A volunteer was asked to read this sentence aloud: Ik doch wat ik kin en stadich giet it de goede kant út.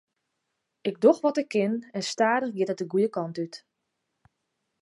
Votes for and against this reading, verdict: 2, 0, accepted